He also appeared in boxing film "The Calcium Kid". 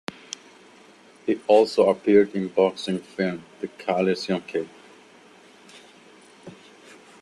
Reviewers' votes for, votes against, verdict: 0, 2, rejected